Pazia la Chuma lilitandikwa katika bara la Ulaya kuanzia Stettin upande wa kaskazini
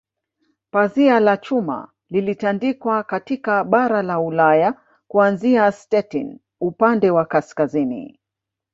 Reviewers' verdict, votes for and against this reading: rejected, 0, 2